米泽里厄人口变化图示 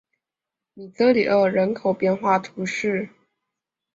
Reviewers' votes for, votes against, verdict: 1, 5, rejected